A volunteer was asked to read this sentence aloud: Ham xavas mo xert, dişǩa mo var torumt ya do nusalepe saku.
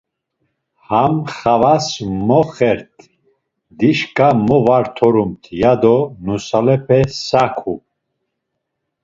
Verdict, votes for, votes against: accepted, 2, 0